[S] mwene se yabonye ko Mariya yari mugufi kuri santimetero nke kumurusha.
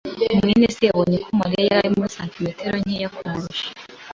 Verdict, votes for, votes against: accepted, 2, 0